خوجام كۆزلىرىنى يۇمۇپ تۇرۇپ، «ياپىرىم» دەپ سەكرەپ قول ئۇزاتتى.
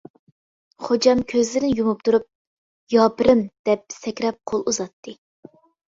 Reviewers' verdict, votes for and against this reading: rejected, 0, 2